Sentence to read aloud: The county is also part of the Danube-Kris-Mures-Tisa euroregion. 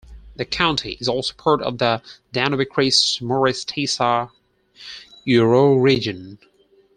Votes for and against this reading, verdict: 4, 2, accepted